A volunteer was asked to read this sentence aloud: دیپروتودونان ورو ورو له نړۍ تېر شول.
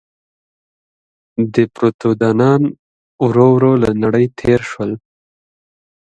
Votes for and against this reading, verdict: 2, 0, accepted